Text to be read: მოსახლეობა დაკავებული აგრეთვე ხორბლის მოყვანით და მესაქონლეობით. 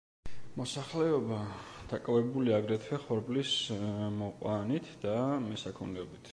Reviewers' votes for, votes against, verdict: 1, 2, rejected